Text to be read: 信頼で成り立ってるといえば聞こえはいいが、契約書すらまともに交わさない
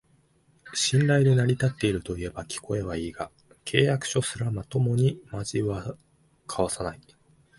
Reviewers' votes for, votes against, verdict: 0, 2, rejected